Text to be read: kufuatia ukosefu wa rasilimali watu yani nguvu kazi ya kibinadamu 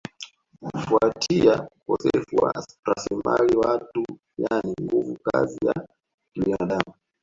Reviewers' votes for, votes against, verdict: 0, 2, rejected